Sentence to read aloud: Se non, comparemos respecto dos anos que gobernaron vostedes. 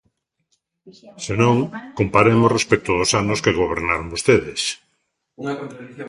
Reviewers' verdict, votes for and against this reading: rejected, 0, 3